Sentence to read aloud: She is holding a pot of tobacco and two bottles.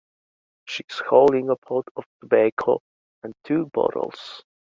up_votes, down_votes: 2, 1